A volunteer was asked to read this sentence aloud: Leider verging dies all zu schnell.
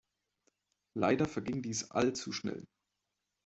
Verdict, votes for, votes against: accepted, 2, 1